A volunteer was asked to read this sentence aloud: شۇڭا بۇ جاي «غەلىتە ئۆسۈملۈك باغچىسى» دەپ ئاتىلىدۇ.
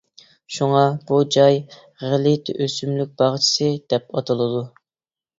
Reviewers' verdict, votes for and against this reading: accepted, 2, 0